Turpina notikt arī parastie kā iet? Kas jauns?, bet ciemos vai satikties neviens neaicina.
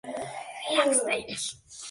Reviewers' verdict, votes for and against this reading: rejected, 0, 3